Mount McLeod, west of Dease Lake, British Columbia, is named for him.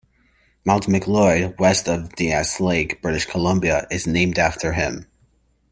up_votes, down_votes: 1, 2